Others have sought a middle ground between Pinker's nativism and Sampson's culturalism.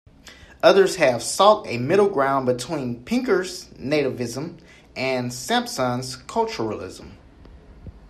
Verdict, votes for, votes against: accepted, 2, 0